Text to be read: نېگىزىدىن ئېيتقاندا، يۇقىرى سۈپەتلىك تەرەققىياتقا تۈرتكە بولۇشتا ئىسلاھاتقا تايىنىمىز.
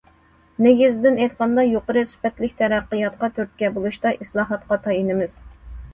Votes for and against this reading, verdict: 2, 0, accepted